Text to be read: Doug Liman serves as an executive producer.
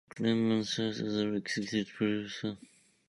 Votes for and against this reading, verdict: 0, 2, rejected